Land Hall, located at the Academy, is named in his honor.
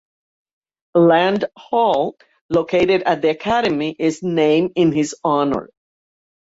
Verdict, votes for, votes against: rejected, 0, 2